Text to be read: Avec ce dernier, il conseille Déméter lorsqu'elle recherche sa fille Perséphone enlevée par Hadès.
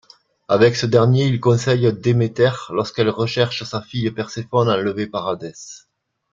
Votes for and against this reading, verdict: 1, 2, rejected